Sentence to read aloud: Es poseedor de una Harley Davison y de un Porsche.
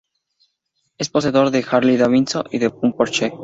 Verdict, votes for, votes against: rejected, 0, 2